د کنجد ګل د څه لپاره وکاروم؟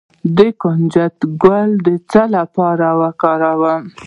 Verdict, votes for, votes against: accepted, 2, 0